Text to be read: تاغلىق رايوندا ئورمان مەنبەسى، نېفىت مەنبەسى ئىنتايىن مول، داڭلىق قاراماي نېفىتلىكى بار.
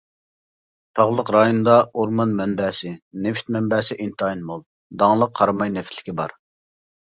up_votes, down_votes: 2, 0